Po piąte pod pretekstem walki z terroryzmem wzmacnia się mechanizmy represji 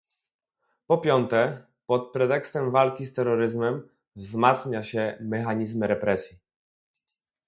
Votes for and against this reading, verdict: 0, 2, rejected